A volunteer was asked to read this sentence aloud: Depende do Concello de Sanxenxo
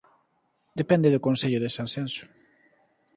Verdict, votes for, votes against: accepted, 2, 0